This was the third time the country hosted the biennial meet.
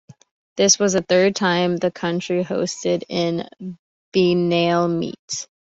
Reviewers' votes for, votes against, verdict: 1, 2, rejected